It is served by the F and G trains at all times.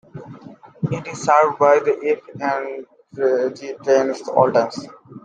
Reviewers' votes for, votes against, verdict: 0, 2, rejected